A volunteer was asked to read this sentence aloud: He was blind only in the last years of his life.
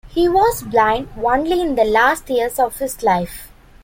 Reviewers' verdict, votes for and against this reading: rejected, 1, 2